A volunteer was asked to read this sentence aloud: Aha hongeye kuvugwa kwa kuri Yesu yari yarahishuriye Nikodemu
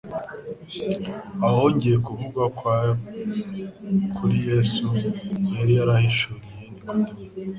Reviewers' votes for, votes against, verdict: 2, 0, accepted